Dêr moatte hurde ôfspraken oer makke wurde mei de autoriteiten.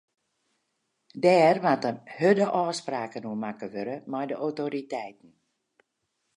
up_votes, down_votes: 0, 2